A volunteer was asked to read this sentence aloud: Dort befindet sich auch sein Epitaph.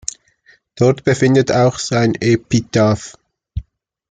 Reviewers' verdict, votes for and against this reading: rejected, 0, 2